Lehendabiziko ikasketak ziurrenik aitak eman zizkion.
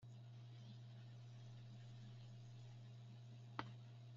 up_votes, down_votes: 0, 4